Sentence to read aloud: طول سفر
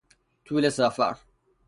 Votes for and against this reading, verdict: 3, 0, accepted